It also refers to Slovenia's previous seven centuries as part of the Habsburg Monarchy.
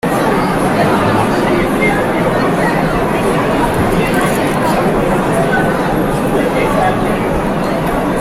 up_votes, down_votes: 0, 2